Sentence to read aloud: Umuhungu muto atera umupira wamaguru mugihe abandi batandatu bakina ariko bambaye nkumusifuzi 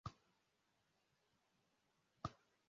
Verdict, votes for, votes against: rejected, 0, 2